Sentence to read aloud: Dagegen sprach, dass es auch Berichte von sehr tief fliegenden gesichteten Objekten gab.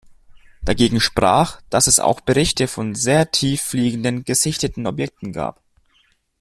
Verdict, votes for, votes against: accepted, 2, 0